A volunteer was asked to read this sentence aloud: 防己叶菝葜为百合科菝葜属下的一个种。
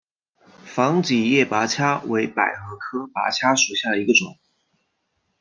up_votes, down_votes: 2, 0